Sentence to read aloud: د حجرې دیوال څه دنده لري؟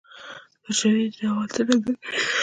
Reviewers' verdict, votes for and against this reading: rejected, 1, 2